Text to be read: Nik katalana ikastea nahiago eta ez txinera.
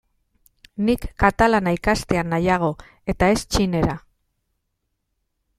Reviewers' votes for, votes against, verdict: 2, 0, accepted